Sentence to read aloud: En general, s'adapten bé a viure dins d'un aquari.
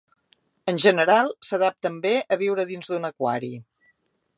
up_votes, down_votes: 2, 0